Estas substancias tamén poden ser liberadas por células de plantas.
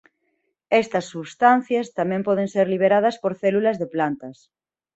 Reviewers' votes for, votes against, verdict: 3, 0, accepted